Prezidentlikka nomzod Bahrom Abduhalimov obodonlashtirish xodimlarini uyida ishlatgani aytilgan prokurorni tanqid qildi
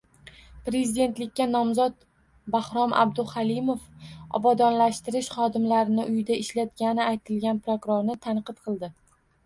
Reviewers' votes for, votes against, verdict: 2, 0, accepted